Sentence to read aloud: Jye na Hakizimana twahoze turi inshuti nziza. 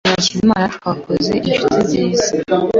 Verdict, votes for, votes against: accepted, 2, 0